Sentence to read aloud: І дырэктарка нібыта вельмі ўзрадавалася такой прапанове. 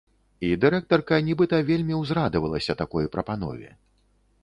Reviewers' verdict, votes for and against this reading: accepted, 2, 0